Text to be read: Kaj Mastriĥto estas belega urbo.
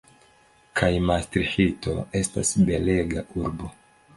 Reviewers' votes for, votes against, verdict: 2, 1, accepted